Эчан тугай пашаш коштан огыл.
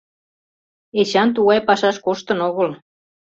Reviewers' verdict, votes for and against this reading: rejected, 1, 2